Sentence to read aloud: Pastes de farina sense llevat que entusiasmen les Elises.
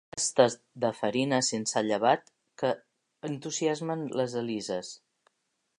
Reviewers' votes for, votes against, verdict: 1, 2, rejected